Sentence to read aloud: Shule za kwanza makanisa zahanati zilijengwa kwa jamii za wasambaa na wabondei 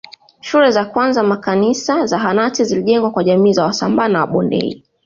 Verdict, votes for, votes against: accepted, 2, 0